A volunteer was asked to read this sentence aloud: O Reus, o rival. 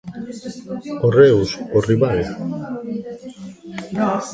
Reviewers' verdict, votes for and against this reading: rejected, 2, 3